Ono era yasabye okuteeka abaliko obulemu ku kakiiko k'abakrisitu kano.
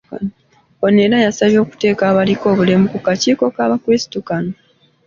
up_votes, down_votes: 2, 0